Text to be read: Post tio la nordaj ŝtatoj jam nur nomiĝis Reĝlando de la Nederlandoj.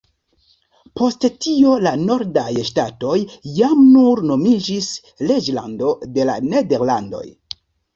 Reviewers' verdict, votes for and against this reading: rejected, 1, 2